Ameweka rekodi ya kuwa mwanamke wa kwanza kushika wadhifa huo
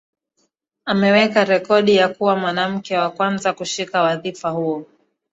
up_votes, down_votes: 2, 0